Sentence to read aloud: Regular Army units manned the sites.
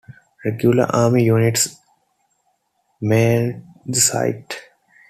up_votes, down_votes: 0, 2